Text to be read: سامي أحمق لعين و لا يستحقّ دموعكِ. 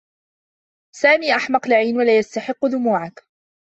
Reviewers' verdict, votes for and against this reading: accepted, 2, 0